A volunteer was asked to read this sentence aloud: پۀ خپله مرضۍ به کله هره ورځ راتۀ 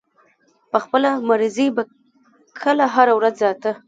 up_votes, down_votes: 0, 2